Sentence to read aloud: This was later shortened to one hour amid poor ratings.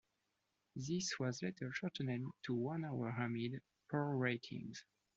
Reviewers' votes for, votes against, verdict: 2, 0, accepted